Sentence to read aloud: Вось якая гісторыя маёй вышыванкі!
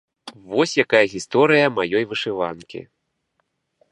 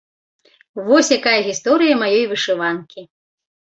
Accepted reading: first